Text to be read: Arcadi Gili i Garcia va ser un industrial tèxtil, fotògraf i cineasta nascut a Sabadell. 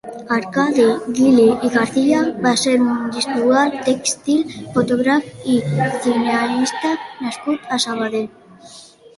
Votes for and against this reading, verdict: 0, 2, rejected